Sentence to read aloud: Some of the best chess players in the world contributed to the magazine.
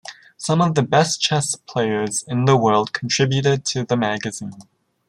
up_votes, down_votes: 1, 2